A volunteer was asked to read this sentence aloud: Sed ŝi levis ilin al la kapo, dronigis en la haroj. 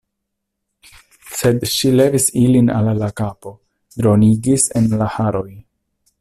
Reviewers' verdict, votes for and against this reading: rejected, 1, 2